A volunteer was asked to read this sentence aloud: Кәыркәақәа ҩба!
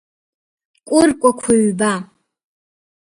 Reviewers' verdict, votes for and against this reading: accepted, 2, 0